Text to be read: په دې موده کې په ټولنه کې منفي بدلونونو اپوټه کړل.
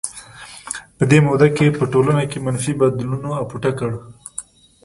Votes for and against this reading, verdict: 0, 2, rejected